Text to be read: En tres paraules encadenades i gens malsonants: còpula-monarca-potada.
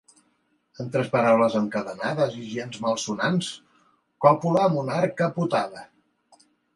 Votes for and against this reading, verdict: 1, 2, rejected